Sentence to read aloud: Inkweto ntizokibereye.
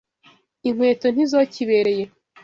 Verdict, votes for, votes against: accepted, 2, 0